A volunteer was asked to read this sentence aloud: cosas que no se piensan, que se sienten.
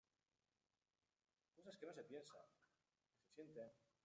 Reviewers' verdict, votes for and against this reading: rejected, 0, 2